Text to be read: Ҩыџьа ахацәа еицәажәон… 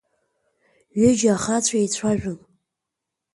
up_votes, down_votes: 2, 0